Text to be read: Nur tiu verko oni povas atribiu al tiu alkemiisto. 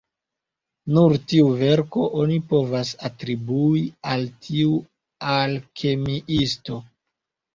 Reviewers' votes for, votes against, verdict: 1, 2, rejected